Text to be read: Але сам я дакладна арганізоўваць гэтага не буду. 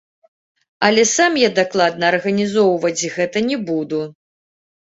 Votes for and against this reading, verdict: 1, 3, rejected